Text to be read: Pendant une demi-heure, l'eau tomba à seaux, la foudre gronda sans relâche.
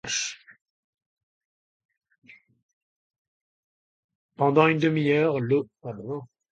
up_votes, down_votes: 1, 2